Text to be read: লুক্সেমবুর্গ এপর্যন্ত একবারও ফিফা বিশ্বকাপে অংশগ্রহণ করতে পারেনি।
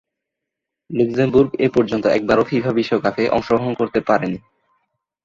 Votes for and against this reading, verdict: 2, 2, rejected